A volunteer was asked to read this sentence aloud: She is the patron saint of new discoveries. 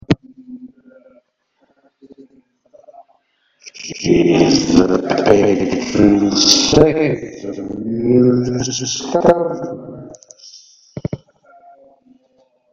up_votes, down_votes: 0, 2